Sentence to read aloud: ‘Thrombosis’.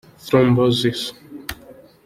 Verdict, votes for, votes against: accepted, 2, 1